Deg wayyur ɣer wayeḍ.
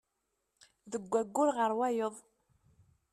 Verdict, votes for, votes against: accepted, 2, 0